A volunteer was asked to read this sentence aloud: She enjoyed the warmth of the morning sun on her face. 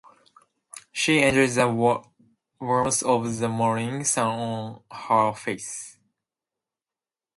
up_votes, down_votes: 0, 2